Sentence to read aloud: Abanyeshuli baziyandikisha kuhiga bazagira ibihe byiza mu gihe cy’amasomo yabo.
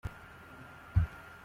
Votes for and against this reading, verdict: 0, 2, rejected